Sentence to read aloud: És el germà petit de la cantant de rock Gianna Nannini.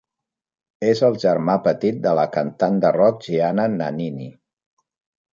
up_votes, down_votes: 4, 0